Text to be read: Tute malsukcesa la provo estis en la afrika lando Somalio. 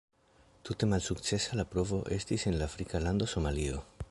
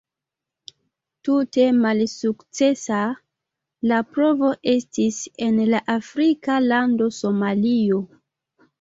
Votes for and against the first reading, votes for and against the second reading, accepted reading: 0, 2, 2, 0, second